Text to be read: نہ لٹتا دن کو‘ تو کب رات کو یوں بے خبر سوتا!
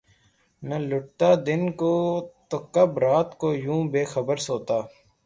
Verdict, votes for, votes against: accepted, 3, 0